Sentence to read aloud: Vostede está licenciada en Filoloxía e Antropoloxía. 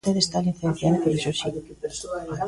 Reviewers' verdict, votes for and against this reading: rejected, 0, 2